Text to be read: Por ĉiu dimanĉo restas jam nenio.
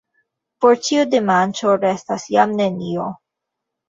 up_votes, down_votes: 0, 2